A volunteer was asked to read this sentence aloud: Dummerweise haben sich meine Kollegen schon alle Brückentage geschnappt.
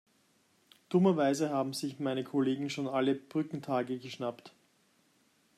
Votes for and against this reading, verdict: 2, 0, accepted